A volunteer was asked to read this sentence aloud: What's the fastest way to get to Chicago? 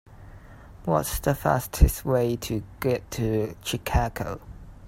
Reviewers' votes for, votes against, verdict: 0, 2, rejected